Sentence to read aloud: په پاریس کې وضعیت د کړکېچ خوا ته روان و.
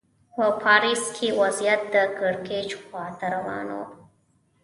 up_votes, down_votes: 0, 2